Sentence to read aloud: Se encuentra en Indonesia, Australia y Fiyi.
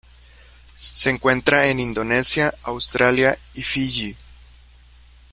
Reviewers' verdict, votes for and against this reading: accepted, 2, 0